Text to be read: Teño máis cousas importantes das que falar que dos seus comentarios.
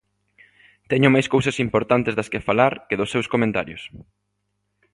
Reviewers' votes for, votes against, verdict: 2, 0, accepted